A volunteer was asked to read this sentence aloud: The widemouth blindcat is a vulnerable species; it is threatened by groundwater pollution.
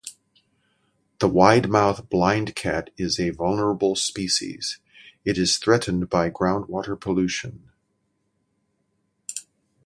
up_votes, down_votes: 2, 0